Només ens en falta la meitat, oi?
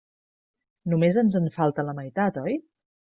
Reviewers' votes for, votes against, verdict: 3, 0, accepted